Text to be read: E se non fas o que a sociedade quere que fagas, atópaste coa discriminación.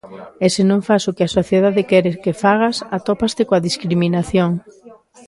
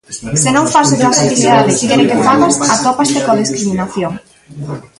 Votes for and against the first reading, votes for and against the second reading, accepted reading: 2, 1, 0, 2, first